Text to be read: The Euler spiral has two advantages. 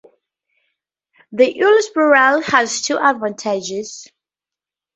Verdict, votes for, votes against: rejected, 0, 4